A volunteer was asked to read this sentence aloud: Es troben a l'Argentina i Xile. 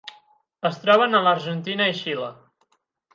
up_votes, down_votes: 12, 0